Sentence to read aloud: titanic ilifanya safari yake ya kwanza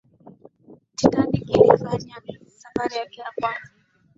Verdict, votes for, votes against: accepted, 2, 0